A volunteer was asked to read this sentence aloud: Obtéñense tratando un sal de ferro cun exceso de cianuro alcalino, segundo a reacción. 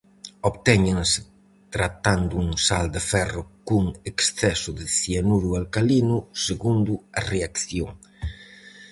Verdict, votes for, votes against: accepted, 4, 0